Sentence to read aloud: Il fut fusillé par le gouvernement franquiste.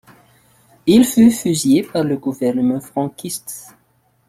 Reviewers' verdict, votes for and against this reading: accepted, 2, 0